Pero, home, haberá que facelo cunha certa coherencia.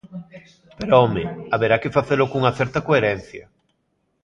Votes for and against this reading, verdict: 1, 2, rejected